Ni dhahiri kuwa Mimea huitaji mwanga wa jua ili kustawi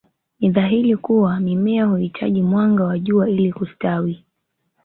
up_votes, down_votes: 2, 1